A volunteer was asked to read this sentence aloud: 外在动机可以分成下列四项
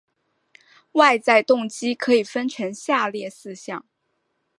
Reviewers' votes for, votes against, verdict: 5, 0, accepted